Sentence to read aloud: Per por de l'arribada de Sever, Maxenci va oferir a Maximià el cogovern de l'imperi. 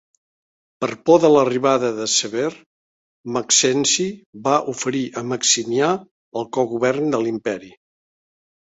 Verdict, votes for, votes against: accepted, 2, 0